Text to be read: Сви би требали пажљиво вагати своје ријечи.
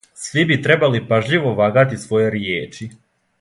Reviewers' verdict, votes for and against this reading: accepted, 2, 0